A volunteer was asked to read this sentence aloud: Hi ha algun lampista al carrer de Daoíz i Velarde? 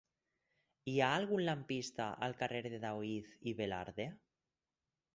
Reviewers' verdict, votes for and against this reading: accepted, 6, 0